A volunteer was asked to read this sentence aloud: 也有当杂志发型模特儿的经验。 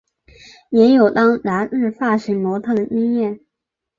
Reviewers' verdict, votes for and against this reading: accepted, 2, 1